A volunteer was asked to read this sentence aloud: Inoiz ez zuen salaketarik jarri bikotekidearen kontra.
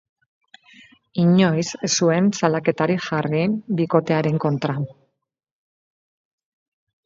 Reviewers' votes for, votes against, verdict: 2, 2, rejected